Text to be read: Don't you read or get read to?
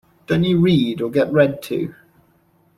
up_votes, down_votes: 2, 1